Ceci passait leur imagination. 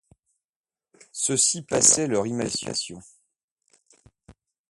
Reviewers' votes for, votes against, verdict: 0, 2, rejected